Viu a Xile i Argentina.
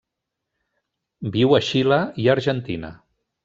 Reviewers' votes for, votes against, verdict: 3, 0, accepted